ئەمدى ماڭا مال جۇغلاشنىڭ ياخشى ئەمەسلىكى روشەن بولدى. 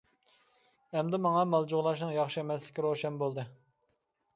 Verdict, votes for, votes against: accepted, 2, 0